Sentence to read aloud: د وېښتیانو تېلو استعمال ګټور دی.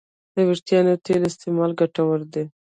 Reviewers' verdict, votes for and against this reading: rejected, 1, 2